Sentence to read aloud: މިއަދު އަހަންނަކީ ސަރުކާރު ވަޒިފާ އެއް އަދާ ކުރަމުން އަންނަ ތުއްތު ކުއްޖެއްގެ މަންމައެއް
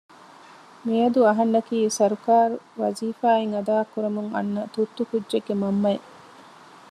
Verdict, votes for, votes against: accepted, 2, 0